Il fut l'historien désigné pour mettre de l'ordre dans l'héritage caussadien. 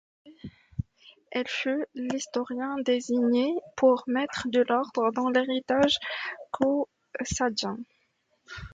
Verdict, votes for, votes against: accepted, 2, 0